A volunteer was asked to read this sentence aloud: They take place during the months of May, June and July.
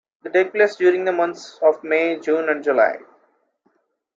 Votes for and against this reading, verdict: 2, 1, accepted